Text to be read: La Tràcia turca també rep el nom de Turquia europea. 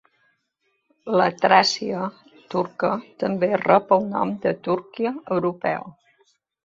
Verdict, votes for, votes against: accepted, 2, 1